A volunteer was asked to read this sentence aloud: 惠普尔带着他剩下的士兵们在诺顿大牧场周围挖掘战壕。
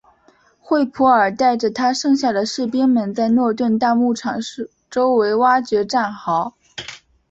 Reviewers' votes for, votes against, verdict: 2, 1, accepted